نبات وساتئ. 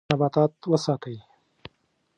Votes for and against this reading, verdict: 1, 2, rejected